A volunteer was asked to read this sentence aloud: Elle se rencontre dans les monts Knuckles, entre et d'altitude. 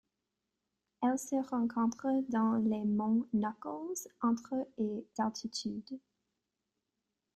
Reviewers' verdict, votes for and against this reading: accepted, 3, 2